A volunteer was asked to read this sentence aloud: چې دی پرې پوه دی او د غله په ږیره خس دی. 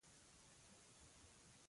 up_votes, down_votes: 0, 2